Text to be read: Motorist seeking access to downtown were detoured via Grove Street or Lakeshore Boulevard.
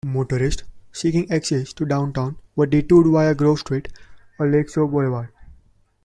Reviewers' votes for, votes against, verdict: 1, 2, rejected